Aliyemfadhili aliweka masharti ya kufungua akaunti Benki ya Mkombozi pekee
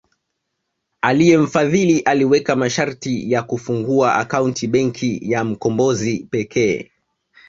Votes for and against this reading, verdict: 2, 0, accepted